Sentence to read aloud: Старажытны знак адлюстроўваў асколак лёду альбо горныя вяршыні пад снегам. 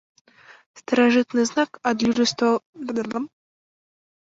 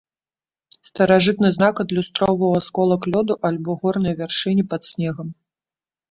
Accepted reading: second